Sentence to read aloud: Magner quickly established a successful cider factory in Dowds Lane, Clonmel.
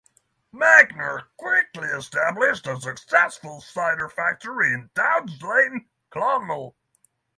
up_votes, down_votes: 6, 0